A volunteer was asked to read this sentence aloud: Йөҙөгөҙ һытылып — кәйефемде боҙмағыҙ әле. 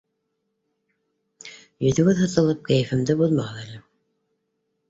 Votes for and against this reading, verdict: 0, 2, rejected